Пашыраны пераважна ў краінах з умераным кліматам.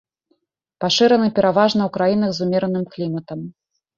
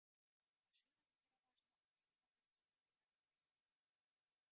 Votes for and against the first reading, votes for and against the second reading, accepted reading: 2, 0, 0, 2, first